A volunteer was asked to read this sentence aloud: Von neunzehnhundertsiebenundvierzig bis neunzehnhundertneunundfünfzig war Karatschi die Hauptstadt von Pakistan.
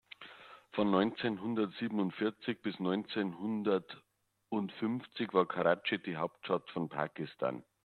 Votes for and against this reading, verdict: 0, 2, rejected